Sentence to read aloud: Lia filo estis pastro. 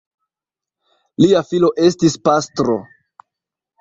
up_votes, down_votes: 2, 0